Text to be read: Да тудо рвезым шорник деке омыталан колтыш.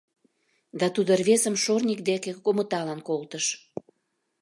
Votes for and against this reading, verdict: 2, 0, accepted